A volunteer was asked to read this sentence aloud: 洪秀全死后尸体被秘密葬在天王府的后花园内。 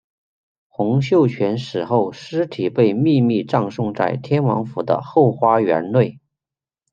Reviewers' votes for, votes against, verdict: 0, 2, rejected